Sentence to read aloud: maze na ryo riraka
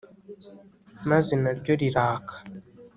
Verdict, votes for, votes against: accepted, 3, 0